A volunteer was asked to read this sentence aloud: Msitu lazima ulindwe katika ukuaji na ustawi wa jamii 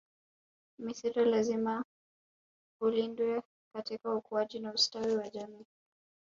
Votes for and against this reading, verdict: 3, 0, accepted